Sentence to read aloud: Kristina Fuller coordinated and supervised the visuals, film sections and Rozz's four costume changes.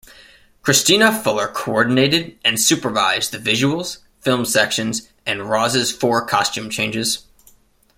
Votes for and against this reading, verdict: 2, 0, accepted